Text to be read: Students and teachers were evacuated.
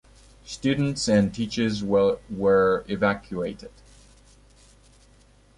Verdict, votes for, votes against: accepted, 2, 1